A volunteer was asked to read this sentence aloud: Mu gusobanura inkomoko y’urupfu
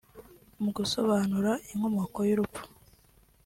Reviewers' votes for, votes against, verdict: 2, 0, accepted